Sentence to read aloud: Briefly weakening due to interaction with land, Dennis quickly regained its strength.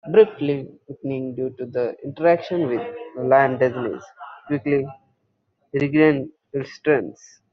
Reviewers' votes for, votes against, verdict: 1, 2, rejected